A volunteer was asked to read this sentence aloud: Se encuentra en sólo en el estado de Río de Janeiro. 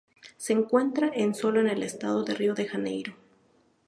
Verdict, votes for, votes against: accepted, 2, 0